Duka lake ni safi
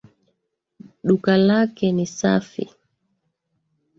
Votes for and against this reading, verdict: 0, 2, rejected